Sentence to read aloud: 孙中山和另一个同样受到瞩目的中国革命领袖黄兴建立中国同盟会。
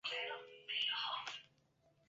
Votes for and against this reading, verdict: 0, 4, rejected